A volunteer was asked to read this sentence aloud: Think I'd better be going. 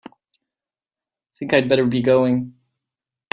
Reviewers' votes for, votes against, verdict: 2, 0, accepted